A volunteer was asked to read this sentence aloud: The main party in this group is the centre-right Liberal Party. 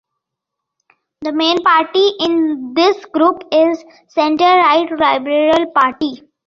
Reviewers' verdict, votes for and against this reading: rejected, 1, 3